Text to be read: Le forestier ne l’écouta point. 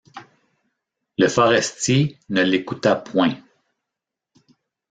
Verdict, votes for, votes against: rejected, 1, 2